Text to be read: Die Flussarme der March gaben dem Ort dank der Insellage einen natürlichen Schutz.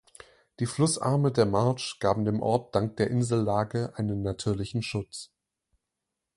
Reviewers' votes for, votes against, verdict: 0, 2, rejected